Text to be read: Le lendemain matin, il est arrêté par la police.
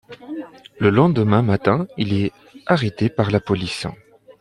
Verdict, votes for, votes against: accepted, 2, 0